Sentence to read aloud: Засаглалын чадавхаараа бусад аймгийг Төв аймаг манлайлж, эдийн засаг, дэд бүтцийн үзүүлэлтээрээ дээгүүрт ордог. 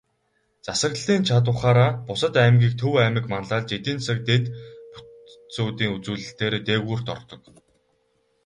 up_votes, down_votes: 0, 2